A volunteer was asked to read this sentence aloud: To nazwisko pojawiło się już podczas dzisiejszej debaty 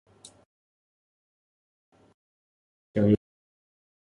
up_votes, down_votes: 0, 2